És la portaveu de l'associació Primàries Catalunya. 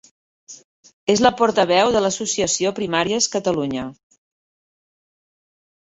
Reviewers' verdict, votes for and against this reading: rejected, 0, 2